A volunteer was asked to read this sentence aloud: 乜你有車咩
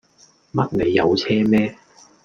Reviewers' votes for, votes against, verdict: 2, 0, accepted